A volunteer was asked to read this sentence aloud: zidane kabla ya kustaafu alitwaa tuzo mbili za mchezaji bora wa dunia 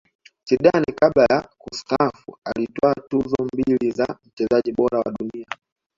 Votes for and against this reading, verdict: 1, 2, rejected